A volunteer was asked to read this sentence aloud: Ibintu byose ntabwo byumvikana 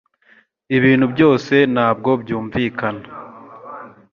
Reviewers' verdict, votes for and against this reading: accepted, 2, 0